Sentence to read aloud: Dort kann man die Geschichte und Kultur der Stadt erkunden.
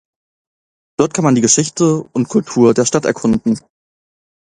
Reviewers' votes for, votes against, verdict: 2, 0, accepted